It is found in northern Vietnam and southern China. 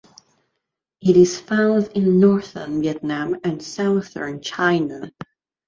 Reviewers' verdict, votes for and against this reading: accepted, 2, 0